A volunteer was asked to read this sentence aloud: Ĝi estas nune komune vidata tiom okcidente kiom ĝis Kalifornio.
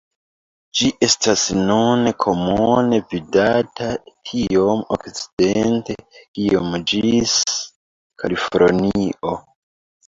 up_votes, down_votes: 1, 2